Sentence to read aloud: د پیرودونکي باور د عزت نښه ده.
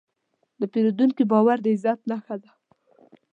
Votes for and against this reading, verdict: 2, 0, accepted